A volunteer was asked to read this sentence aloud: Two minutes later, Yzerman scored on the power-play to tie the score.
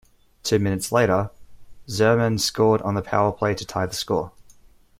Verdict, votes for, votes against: accepted, 2, 0